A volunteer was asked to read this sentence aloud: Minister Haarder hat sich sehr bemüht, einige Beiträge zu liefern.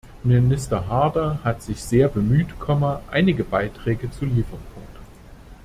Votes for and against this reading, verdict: 0, 2, rejected